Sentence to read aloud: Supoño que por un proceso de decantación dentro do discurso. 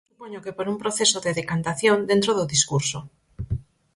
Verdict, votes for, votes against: rejected, 0, 4